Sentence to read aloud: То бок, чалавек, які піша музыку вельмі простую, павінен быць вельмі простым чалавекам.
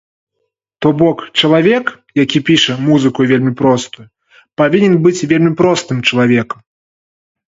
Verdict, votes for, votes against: accepted, 3, 0